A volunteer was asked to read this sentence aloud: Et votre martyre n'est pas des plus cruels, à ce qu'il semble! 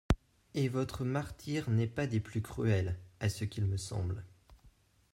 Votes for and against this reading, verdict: 0, 2, rejected